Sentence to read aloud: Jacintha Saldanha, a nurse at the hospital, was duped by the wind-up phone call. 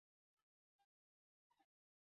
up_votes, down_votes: 0, 4